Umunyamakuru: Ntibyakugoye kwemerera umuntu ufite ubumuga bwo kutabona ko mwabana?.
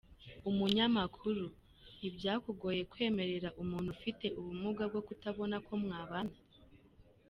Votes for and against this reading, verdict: 2, 0, accepted